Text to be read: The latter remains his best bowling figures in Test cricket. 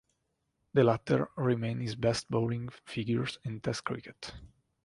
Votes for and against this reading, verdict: 2, 0, accepted